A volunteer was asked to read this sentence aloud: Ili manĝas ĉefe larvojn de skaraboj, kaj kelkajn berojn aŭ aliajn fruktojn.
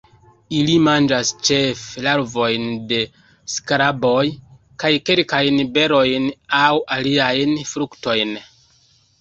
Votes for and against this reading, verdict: 2, 0, accepted